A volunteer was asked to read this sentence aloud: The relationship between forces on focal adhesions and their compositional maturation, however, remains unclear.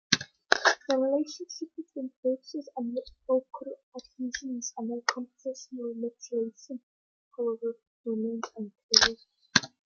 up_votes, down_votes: 0, 2